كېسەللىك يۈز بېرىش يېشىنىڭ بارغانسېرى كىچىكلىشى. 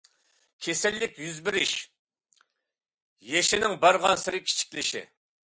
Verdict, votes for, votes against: accepted, 2, 0